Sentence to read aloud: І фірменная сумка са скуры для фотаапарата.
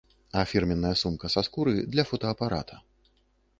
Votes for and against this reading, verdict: 0, 3, rejected